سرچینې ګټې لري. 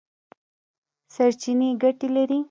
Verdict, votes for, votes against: accepted, 2, 0